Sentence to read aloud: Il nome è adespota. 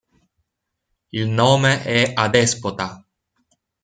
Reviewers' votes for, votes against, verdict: 2, 0, accepted